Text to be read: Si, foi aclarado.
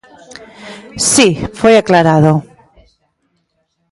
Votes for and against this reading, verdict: 2, 0, accepted